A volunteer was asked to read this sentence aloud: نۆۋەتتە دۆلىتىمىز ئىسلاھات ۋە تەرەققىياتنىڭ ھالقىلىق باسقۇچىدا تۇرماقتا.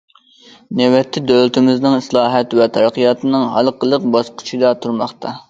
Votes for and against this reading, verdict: 1, 2, rejected